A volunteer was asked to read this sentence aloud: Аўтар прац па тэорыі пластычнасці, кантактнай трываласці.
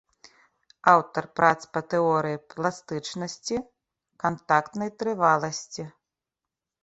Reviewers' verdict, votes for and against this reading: accepted, 2, 0